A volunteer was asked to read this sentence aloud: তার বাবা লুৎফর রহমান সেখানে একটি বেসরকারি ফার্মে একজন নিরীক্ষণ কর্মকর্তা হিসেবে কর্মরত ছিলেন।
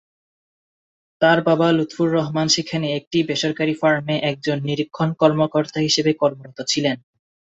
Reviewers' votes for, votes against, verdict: 14, 2, accepted